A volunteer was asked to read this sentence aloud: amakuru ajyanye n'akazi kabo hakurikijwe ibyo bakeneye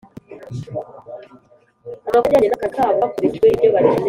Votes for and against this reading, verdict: 0, 3, rejected